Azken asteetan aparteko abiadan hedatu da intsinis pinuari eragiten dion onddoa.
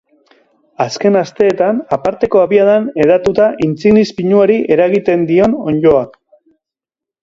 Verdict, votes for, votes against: accepted, 4, 0